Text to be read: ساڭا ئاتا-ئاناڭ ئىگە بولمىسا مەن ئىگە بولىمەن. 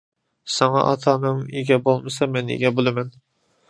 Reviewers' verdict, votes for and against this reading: accepted, 2, 1